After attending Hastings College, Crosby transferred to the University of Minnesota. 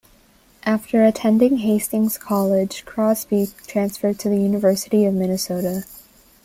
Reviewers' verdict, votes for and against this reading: rejected, 1, 2